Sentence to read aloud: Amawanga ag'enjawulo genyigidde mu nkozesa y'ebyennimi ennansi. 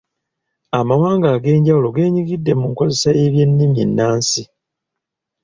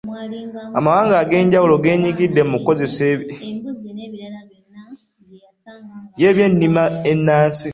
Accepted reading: first